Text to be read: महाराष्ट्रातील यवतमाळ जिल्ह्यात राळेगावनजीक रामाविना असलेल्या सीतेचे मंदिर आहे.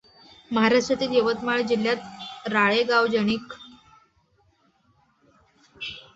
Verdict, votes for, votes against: rejected, 0, 2